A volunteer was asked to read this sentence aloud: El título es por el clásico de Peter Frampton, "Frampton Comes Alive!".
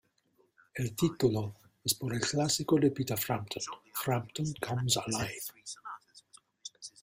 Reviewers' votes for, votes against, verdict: 2, 0, accepted